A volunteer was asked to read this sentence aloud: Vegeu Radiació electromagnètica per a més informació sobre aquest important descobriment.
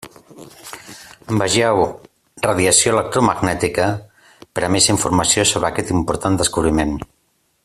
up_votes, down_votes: 2, 1